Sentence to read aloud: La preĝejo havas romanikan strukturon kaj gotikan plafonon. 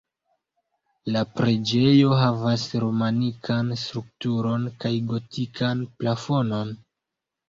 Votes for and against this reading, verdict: 2, 0, accepted